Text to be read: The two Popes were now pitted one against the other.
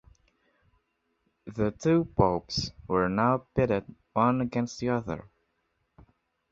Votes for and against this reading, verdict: 2, 0, accepted